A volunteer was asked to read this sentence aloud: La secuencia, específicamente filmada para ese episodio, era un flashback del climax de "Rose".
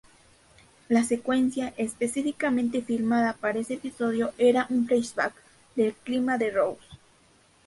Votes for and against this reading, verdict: 2, 2, rejected